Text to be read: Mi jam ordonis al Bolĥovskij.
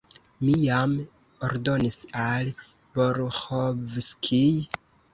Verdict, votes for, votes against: rejected, 1, 2